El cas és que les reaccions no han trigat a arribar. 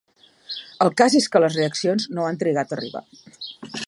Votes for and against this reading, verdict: 2, 0, accepted